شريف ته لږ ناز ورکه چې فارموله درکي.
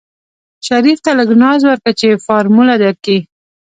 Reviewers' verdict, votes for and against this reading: rejected, 1, 2